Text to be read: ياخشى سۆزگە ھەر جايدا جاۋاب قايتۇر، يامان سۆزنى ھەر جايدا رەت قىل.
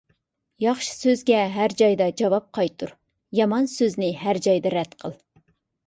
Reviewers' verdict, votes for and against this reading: accepted, 2, 0